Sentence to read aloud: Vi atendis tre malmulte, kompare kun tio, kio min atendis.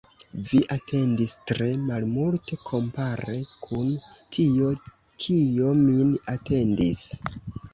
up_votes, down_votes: 3, 1